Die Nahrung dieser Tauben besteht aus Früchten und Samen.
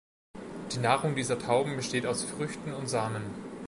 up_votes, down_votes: 2, 0